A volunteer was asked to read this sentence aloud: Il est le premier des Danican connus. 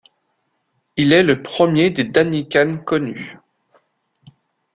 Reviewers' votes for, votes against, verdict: 2, 0, accepted